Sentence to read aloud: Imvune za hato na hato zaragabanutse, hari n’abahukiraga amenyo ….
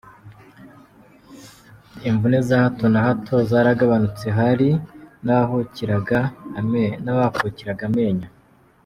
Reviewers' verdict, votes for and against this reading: rejected, 0, 2